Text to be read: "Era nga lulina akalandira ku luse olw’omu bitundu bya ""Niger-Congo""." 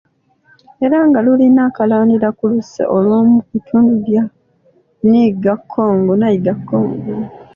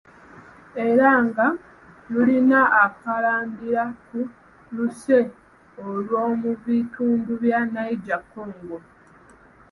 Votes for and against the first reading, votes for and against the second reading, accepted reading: 1, 2, 2, 1, second